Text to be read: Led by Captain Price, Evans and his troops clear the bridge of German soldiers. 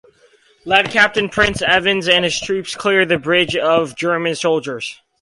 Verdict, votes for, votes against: rejected, 0, 4